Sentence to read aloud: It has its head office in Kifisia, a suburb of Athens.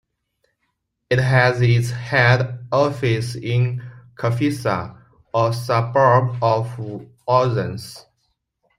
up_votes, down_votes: 1, 2